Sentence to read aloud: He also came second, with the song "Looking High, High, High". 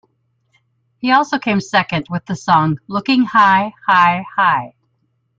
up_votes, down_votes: 2, 0